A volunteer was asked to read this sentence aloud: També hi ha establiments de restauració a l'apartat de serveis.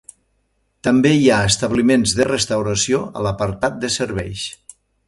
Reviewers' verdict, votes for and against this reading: accepted, 2, 0